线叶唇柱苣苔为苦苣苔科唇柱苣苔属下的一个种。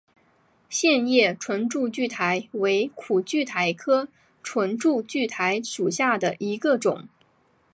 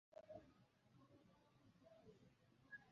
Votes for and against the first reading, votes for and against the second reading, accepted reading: 9, 0, 1, 2, first